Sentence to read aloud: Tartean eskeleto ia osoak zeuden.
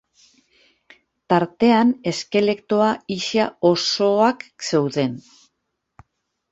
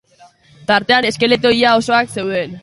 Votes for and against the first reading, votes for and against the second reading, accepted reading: 1, 2, 3, 0, second